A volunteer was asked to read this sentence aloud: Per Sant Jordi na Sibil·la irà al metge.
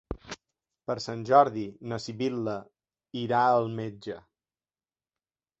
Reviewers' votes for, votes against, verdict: 3, 0, accepted